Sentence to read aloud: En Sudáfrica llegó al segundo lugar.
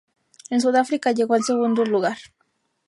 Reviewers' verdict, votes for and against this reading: rejected, 0, 2